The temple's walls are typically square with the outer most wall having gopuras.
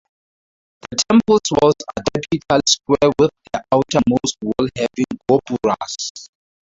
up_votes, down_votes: 0, 6